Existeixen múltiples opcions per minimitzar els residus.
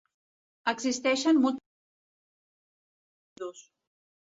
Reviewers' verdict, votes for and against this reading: rejected, 1, 2